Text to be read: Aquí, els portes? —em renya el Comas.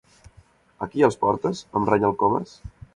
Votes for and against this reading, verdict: 2, 0, accepted